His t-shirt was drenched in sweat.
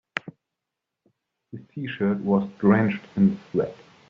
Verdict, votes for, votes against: rejected, 1, 2